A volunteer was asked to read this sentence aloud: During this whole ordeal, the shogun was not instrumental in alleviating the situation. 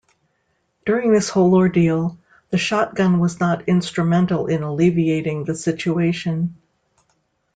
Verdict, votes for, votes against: rejected, 0, 2